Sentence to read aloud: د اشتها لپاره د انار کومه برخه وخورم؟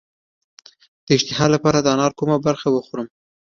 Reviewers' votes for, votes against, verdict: 3, 1, accepted